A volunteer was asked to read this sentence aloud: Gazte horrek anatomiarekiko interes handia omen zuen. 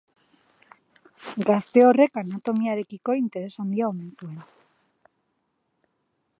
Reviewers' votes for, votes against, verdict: 2, 2, rejected